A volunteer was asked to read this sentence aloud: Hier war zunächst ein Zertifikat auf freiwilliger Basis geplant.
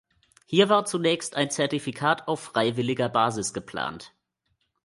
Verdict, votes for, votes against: accepted, 2, 0